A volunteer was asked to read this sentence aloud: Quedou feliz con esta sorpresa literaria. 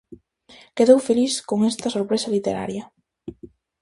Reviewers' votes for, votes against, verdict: 2, 0, accepted